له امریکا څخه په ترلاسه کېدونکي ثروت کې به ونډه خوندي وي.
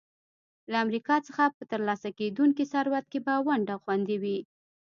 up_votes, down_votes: 2, 0